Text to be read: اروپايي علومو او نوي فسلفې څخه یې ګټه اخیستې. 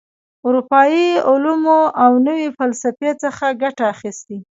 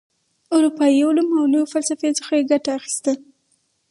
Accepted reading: first